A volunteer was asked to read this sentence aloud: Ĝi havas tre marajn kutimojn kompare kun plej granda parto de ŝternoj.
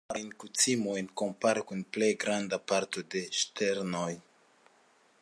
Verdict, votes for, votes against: rejected, 1, 2